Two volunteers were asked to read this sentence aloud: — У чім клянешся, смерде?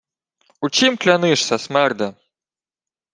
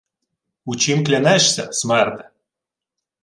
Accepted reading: second